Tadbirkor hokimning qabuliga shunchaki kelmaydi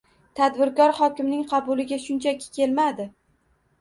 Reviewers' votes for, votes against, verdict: 2, 1, accepted